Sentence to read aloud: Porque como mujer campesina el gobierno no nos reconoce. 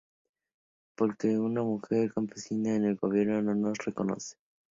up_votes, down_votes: 0, 2